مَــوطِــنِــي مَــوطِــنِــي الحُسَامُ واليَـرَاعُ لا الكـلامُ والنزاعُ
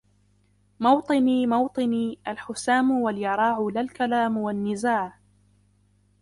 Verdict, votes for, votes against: rejected, 1, 2